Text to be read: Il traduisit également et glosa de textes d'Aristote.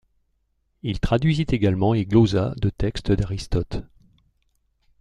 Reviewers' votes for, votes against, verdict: 2, 0, accepted